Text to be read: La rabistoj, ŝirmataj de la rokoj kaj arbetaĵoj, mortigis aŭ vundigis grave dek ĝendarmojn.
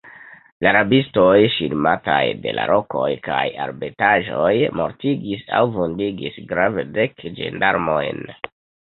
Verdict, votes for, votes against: accepted, 2, 1